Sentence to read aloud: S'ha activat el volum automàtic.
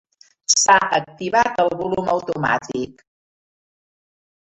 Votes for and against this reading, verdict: 2, 0, accepted